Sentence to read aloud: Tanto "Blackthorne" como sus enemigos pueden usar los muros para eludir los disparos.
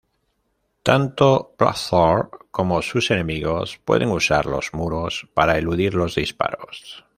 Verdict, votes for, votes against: rejected, 0, 2